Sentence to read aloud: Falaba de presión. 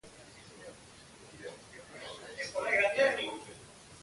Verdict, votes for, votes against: rejected, 0, 2